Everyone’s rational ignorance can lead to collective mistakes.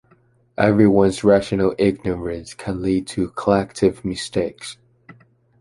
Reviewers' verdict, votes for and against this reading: accepted, 2, 1